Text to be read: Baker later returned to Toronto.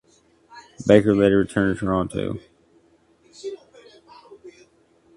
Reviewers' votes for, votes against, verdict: 0, 2, rejected